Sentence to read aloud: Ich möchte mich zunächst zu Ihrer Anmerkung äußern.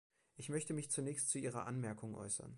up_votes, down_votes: 2, 0